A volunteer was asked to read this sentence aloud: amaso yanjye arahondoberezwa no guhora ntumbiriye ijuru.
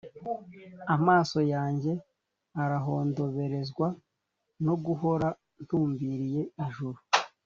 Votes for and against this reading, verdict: 3, 0, accepted